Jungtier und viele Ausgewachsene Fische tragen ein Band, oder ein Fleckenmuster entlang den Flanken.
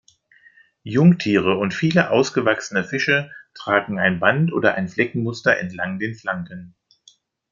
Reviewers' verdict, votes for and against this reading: rejected, 1, 2